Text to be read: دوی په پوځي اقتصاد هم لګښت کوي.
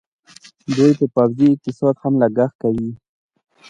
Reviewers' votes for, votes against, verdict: 2, 0, accepted